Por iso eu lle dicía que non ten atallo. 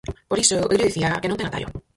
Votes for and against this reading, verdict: 0, 4, rejected